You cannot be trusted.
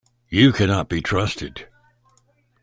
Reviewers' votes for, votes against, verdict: 2, 0, accepted